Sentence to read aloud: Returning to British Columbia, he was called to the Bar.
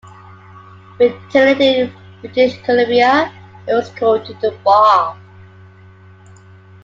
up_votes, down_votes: 1, 2